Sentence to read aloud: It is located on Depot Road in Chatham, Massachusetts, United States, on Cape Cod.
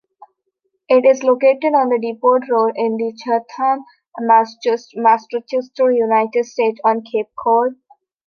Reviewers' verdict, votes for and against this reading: rejected, 0, 2